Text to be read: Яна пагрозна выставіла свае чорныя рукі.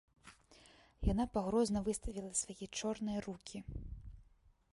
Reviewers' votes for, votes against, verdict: 2, 0, accepted